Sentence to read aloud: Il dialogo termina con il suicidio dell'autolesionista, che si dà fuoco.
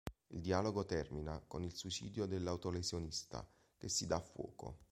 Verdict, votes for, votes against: accepted, 2, 0